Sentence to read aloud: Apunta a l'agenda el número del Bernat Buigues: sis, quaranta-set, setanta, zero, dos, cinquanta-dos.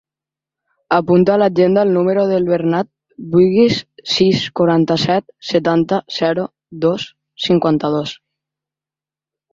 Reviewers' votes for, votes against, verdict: 2, 0, accepted